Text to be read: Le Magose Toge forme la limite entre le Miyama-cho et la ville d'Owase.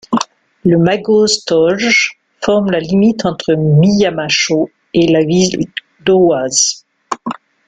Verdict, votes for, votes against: rejected, 0, 2